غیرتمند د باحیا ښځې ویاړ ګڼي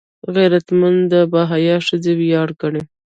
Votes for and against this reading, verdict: 0, 2, rejected